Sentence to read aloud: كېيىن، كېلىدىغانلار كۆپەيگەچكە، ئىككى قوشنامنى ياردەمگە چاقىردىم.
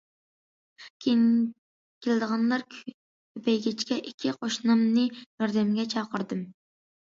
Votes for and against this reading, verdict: 0, 2, rejected